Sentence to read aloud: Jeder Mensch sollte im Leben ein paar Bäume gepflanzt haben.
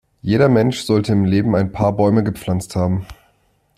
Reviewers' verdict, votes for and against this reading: accepted, 2, 0